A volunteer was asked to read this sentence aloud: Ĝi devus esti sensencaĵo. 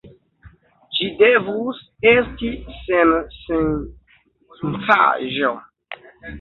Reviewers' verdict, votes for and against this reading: rejected, 1, 2